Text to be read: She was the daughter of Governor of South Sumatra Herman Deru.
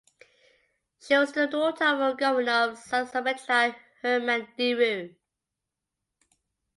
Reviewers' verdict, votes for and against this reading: accepted, 2, 1